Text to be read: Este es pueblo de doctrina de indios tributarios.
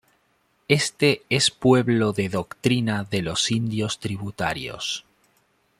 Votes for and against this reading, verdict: 2, 0, accepted